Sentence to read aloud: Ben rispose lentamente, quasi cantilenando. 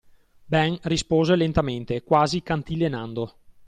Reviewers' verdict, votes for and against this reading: accepted, 2, 0